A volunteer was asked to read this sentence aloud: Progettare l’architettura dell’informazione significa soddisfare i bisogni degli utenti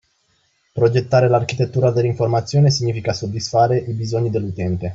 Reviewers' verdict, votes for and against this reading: rejected, 1, 2